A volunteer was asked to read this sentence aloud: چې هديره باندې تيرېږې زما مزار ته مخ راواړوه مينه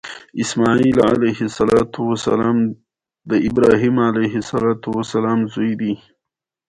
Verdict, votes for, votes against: accepted, 2, 0